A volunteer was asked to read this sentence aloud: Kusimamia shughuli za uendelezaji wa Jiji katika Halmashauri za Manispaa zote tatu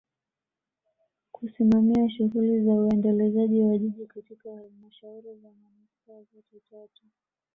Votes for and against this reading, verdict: 2, 1, accepted